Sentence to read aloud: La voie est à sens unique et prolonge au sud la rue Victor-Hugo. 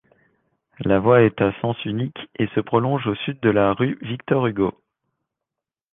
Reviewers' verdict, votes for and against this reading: rejected, 1, 2